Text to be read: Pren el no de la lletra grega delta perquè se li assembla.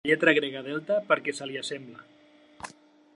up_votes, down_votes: 0, 2